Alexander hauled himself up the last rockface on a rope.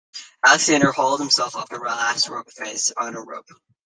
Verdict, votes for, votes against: rejected, 1, 2